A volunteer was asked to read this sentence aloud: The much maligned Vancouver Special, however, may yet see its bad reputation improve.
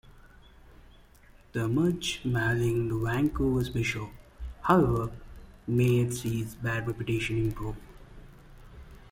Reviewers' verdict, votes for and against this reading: rejected, 0, 2